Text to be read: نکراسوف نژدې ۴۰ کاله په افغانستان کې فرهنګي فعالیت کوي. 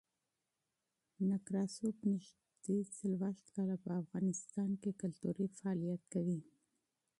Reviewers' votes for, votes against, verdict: 0, 2, rejected